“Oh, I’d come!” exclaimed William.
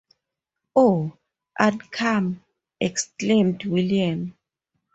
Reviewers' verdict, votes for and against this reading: accepted, 4, 0